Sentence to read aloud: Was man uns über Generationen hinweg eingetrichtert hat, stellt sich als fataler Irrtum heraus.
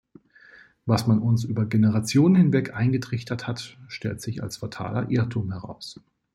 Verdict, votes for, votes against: accepted, 2, 0